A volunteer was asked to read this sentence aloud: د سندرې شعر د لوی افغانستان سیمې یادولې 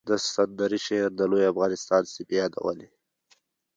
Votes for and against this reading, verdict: 2, 1, accepted